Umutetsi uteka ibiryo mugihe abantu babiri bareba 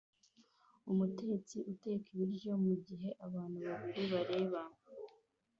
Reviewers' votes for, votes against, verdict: 2, 0, accepted